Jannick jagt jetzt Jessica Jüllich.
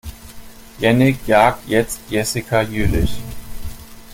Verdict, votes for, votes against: accepted, 2, 0